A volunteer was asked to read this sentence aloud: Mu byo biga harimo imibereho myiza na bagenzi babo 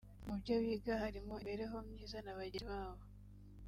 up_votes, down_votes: 1, 2